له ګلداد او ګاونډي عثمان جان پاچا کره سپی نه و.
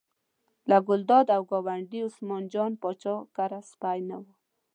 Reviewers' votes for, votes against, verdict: 2, 0, accepted